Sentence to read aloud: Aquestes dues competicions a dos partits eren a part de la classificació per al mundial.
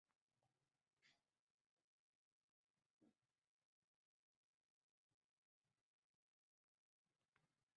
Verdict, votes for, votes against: rejected, 0, 2